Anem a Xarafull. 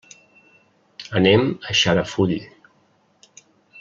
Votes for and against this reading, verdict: 2, 0, accepted